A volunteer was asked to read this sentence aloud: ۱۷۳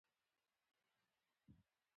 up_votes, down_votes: 0, 2